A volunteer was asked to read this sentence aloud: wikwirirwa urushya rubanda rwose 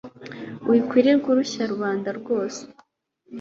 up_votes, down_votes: 2, 0